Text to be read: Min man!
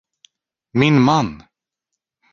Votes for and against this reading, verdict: 4, 0, accepted